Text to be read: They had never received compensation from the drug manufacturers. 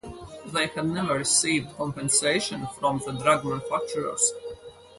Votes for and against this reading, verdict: 2, 2, rejected